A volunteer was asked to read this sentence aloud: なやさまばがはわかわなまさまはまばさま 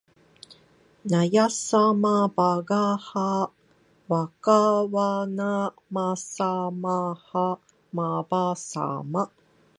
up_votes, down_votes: 2, 0